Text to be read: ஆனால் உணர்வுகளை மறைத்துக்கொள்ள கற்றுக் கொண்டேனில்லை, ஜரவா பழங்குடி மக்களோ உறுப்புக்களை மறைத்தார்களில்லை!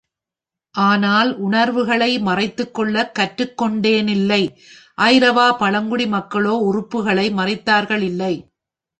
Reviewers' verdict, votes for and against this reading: rejected, 0, 2